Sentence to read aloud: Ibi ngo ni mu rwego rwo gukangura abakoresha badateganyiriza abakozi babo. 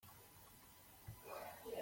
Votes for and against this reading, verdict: 0, 3, rejected